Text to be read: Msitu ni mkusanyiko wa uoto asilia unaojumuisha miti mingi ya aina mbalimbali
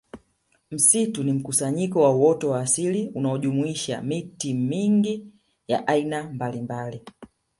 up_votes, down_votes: 2, 1